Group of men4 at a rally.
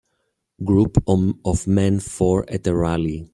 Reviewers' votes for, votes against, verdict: 0, 2, rejected